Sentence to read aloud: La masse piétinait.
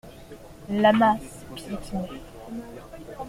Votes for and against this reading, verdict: 2, 0, accepted